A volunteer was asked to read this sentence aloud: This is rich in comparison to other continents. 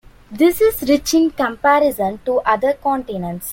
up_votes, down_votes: 2, 0